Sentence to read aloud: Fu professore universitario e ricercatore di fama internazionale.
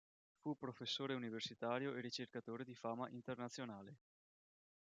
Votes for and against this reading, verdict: 1, 2, rejected